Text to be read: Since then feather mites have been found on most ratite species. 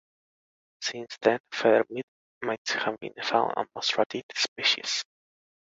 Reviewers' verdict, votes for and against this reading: rejected, 0, 2